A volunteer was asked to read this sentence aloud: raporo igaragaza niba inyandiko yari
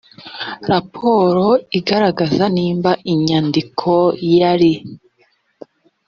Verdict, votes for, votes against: rejected, 1, 2